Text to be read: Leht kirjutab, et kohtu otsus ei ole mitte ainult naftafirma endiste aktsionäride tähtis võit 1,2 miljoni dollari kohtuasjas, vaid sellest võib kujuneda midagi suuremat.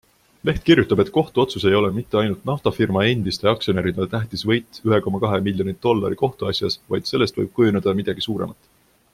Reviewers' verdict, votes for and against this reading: rejected, 0, 2